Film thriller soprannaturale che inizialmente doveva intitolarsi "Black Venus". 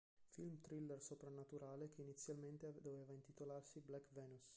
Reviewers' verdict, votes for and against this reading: rejected, 1, 3